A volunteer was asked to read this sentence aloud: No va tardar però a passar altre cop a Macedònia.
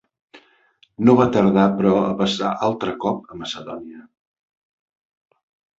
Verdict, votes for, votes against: accepted, 3, 0